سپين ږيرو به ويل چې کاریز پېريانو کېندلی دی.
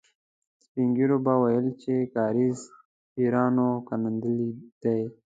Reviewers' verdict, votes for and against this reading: rejected, 0, 2